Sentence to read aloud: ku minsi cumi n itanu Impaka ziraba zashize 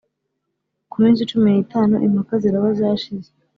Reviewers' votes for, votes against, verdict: 2, 0, accepted